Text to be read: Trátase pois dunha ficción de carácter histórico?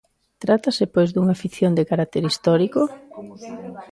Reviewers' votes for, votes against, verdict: 1, 2, rejected